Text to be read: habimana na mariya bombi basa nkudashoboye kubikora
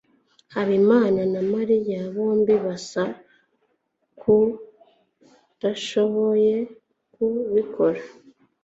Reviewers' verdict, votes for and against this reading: accepted, 2, 0